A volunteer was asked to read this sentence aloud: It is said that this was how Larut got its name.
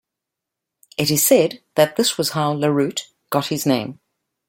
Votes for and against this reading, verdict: 1, 2, rejected